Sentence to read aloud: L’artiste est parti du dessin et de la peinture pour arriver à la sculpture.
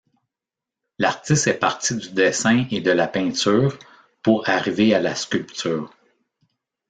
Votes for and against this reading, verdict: 2, 0, accepted